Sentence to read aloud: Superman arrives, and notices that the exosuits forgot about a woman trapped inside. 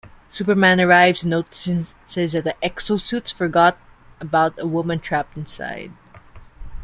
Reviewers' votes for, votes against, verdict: 0, 2, rejected